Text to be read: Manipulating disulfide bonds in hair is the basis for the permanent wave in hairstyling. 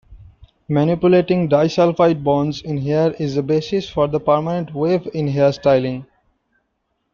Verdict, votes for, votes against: rejected, 1, 2